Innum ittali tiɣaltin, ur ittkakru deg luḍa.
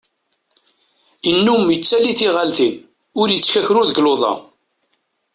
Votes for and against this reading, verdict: 2, 0, accepted